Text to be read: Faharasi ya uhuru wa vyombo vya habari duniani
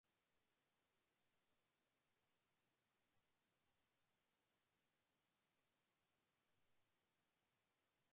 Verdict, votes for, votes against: rejected, 0, 2